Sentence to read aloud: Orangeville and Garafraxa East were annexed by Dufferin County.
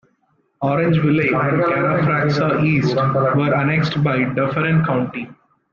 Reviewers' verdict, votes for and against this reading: rejected, 0, 2